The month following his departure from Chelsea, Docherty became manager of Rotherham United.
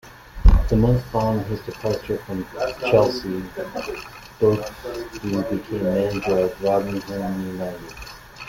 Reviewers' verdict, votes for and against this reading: rejected, 1, 2